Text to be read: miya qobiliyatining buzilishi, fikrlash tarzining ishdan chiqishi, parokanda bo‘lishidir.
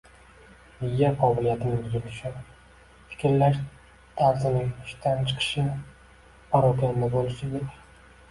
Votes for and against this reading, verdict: 2, 1, accepted